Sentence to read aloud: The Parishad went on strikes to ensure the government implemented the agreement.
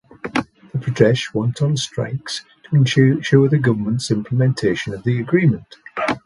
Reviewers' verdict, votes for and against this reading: rejected, 0, 2